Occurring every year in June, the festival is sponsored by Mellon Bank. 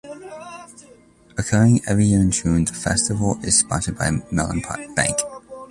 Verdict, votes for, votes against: rejected, 1, 2